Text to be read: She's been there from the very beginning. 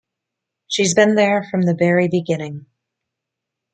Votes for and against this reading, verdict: 2, 0, accepted